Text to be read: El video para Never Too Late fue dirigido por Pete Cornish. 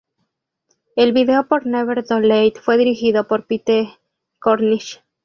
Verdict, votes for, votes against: rejected, 0, 2